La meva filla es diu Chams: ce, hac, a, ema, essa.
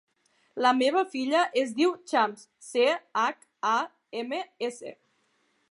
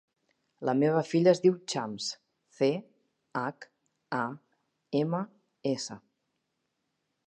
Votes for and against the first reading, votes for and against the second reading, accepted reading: 1, 2, 2, 0, second